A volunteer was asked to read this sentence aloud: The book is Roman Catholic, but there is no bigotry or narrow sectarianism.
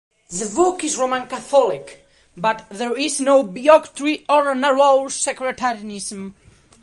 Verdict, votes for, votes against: rejected, 1, 2